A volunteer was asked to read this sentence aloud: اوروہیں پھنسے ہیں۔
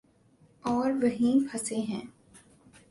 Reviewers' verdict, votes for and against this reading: accepted, 4, 0